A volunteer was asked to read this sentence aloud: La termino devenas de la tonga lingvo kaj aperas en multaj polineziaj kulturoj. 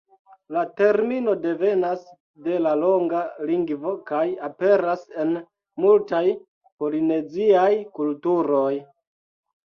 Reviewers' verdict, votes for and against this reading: rejected, 1, 2